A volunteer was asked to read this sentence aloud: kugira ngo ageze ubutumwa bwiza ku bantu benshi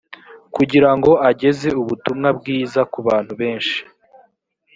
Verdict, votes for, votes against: accepted, 2, 0